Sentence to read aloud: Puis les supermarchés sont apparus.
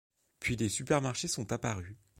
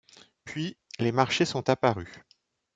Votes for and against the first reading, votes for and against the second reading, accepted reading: 2, 1, 1, 3, first